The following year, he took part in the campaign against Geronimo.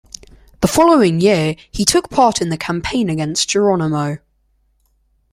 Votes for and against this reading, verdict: 2, 0, accepted